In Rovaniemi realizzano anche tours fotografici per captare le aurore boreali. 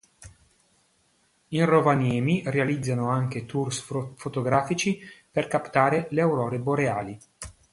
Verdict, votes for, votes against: rejected, 1, 2